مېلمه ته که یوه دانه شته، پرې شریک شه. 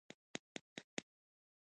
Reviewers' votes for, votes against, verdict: 0, 2, rejected